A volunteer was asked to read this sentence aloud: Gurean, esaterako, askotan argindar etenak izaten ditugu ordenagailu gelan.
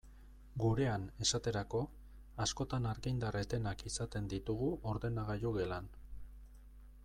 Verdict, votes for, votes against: accepted, 2, 0